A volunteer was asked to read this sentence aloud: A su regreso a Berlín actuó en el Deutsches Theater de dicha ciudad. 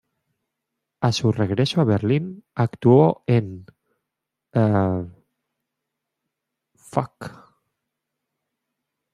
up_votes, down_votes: 0, 2